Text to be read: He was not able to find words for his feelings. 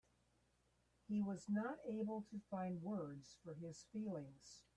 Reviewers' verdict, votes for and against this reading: accepted, 2, 1